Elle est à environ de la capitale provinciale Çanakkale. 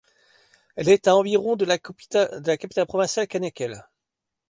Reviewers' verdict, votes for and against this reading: rejected, 0, 2